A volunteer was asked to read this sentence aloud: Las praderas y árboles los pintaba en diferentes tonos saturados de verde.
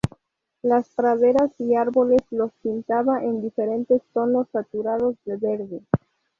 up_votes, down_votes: 2, 0